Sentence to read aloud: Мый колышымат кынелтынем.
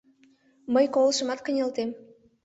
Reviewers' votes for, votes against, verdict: 0, 2, rejected